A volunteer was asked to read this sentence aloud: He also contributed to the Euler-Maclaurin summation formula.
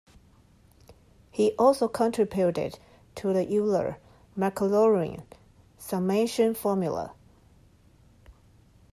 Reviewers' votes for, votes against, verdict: 2, 1, accepted